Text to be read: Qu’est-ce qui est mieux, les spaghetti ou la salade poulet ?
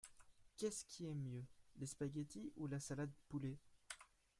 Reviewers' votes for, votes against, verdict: 1, 2, rejected